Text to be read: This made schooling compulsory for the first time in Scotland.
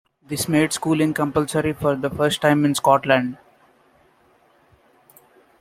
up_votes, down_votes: 2, 0